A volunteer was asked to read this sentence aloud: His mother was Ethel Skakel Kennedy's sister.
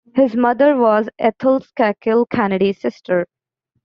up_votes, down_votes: 2, 1